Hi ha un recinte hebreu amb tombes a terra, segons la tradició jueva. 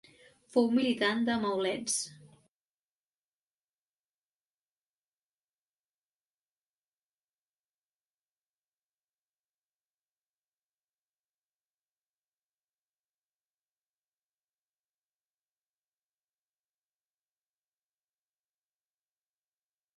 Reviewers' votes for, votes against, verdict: 0, 2, rejected